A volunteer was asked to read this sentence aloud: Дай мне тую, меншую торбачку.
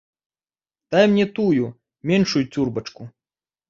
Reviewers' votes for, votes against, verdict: 0, 2, rejected